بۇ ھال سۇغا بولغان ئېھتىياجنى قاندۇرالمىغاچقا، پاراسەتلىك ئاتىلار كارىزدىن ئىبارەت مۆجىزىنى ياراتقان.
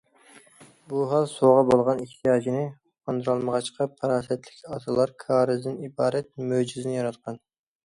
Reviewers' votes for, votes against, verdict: 2, 0, accepted